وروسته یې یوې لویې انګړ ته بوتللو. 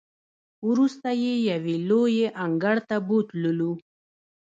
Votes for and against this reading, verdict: 1, 2, rejected